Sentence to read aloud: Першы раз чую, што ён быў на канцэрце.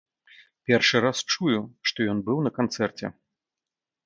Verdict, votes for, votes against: accepted, 2, 0